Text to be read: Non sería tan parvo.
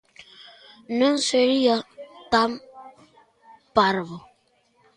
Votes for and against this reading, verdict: 2, 1, accepted